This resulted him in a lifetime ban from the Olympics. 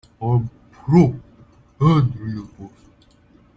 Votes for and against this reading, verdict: 0, 2, rejected